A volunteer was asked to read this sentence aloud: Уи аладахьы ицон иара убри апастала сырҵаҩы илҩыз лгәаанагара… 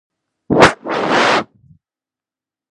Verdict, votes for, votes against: rejected, 0, 2